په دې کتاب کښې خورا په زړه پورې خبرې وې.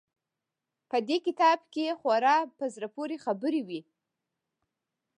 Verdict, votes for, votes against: rejected, 1, 2